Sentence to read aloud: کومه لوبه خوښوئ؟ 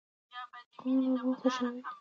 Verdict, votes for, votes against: accepted, 2, 1